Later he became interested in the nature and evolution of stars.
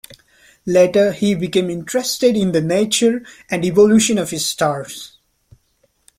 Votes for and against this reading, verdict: 1, 2, rejected